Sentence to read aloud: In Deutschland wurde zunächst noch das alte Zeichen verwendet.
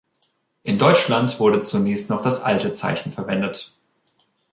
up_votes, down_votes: 3, 0